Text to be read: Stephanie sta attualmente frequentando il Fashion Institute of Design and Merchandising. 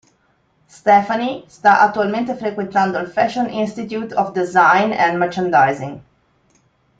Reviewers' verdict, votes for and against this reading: accepted, 2, 0